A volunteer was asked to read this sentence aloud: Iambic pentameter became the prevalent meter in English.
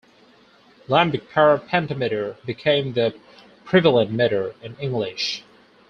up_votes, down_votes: 0, 4